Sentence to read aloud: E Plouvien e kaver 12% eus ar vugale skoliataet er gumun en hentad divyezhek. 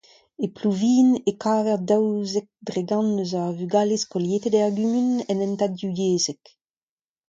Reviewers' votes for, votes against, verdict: 0, 2, rejected